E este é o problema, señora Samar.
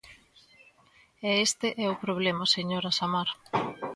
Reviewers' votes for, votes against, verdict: 2, 0, accepted